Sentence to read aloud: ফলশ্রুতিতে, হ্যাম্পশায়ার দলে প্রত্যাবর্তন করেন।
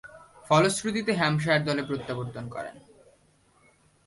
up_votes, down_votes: 3, 0